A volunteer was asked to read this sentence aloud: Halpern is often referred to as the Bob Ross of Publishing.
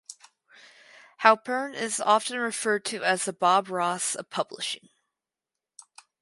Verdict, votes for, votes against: accepted, 4, 0